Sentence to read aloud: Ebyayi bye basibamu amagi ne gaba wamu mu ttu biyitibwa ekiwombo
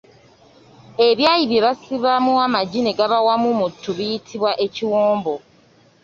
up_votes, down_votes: 2, 0